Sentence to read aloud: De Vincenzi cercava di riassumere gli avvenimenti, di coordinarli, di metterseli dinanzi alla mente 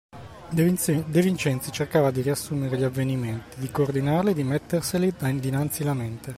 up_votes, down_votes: 1, 2